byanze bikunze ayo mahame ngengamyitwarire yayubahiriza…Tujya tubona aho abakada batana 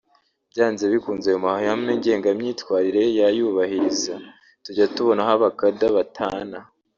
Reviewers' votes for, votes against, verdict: 1, 2, rejected